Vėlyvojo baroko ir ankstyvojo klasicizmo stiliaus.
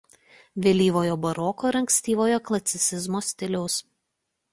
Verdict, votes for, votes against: rejected, 1, 2